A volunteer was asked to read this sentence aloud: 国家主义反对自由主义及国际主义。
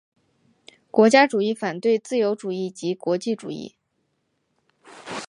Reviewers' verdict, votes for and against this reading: accepted, 2, 0